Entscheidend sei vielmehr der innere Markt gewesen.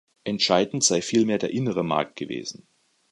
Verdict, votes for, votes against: rejected, 1, 2